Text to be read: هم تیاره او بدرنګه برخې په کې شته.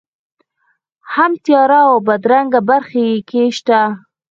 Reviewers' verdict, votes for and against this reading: rejected, 2, 4